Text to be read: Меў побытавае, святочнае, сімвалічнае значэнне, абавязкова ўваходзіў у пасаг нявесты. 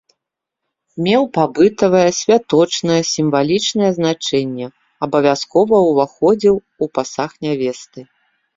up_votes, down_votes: 0, 2